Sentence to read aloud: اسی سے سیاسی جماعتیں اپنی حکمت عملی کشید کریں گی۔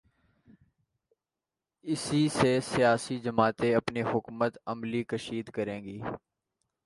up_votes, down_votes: 1, 2